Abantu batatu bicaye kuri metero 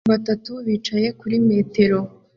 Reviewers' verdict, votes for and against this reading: rejected, 1, 2